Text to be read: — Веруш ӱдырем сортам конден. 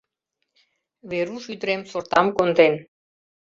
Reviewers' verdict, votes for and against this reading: accepted, 2, 0